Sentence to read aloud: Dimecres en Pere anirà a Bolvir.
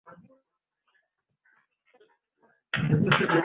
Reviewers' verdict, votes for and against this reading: rejected, 1, 2